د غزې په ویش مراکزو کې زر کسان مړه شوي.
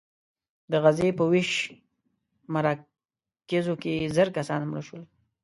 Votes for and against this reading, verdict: 0, 2, rejected